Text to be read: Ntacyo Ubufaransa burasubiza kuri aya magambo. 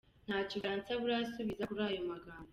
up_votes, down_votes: 1, 2